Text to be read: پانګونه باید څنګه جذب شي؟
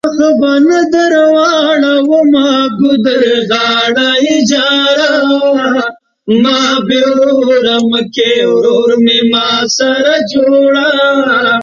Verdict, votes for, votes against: rejected, 0, 2